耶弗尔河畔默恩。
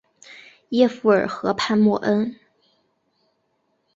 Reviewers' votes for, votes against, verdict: 2, 0, accepted